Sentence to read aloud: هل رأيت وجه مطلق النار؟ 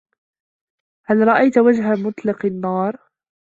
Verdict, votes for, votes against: accepted, 2, 0